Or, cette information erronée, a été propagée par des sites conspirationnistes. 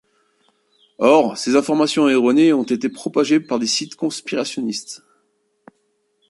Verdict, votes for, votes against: rejected, 0, 2